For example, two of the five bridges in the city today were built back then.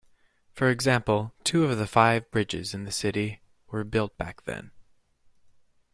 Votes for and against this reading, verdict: 0, 2, rejected